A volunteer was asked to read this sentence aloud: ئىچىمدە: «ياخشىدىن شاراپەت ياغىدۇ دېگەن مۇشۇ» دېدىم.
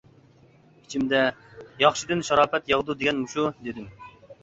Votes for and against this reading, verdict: 2, 0, accepted